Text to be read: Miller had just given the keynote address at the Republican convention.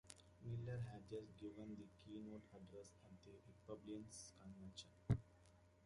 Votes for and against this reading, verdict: 0, 2, rejected